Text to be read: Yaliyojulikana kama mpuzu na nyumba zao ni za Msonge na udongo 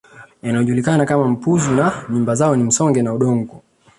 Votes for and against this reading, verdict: 2, 0, accepted